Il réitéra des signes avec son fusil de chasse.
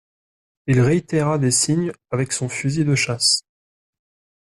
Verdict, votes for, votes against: accepted, 2, 0